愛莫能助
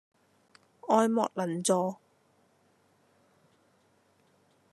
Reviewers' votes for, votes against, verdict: 2, 0, accepted